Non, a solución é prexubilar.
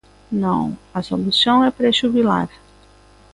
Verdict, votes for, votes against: accepted, 2, 0